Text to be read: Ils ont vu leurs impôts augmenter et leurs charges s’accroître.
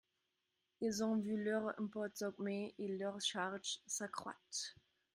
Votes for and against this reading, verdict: 0, 2, rejected